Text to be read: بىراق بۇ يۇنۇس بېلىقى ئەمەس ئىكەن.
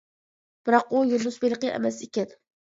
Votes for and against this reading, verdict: 0, 3, rejected